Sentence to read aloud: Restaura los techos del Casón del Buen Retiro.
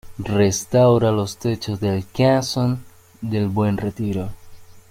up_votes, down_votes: 2, 0